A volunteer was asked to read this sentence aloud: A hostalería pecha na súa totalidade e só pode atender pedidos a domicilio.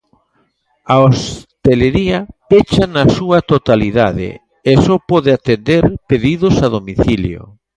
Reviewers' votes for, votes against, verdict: 0, 2, rejected